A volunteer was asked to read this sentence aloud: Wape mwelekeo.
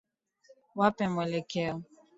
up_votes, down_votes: 2, 0